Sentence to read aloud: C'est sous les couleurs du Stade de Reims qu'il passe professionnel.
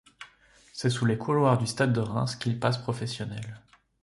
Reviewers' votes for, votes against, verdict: 0, 2, rejected